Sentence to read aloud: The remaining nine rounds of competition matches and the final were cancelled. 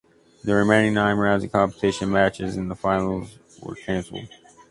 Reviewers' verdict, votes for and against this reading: rejected, 0, 2